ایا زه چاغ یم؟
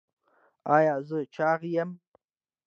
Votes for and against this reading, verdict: 2, 0, accepted